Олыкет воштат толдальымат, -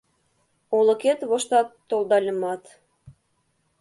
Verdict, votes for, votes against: accepted, 2, 0